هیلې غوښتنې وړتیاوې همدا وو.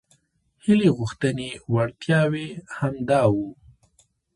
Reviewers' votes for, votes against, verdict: 2, 3, rejected